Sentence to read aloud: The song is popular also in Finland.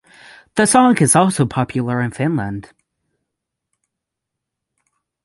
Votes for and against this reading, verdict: 3, 6, rejected